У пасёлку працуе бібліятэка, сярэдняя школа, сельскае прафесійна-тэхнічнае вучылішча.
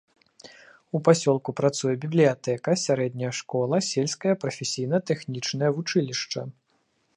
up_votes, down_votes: 2, 0